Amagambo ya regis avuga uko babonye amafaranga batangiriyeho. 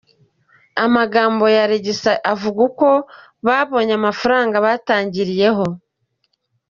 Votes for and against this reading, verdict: 1, 2, rejected